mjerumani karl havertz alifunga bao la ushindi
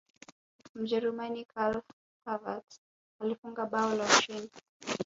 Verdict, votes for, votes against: rejected, 1, 3